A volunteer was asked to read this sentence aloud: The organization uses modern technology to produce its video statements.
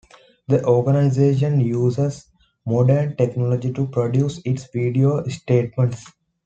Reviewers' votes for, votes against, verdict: 2, 0, accepted